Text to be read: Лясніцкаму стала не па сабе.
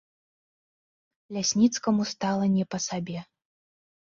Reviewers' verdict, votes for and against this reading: accepted, 3, 0